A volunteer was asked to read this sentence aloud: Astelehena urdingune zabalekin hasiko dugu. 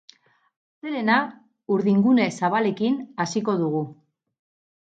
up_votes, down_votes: 0, 8